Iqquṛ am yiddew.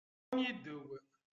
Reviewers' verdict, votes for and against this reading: rejected, 0, 3